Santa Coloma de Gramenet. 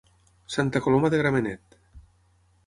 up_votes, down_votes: 6, 0